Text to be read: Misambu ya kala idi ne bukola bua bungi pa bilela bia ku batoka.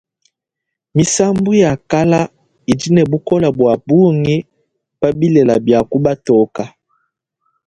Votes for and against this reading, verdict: 2, 0, accepted